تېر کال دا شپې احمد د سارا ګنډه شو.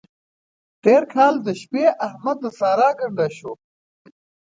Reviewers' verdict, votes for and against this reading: accepted, 2, 0